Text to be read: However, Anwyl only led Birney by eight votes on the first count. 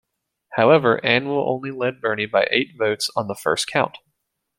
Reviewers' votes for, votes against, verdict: 2, 0, accepted